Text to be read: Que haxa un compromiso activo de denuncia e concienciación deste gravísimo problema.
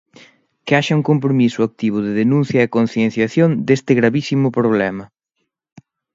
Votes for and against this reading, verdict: 2, 0, accepted